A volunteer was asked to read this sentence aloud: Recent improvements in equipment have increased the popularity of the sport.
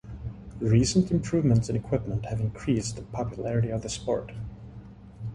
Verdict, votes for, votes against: accepted, 2, 0